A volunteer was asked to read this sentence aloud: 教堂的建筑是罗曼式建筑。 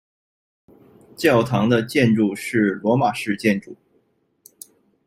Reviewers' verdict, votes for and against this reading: rejected, 1, 2